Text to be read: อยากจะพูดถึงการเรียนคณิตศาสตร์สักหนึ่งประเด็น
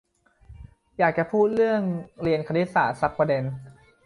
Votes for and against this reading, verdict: 0, 2, rejected